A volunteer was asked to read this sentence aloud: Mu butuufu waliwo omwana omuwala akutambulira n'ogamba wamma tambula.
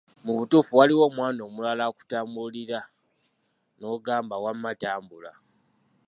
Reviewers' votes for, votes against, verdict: 0, 2, rejected